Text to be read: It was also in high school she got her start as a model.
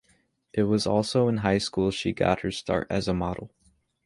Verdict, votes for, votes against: accepted, 3, 0